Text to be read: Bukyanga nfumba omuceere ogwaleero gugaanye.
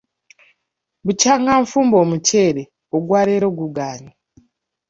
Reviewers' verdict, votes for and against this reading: rejected, 0, 2